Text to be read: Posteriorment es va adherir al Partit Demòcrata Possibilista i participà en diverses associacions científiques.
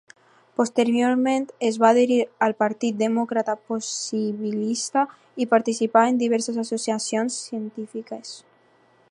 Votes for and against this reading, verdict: 2, 0, accepted